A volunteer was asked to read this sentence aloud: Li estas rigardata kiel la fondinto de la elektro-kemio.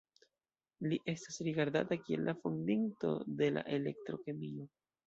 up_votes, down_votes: 2, 0